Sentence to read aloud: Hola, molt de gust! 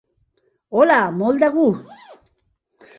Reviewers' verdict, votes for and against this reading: rejected, 0, 2